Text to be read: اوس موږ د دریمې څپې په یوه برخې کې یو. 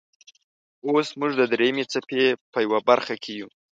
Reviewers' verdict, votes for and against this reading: rejected, 0, 2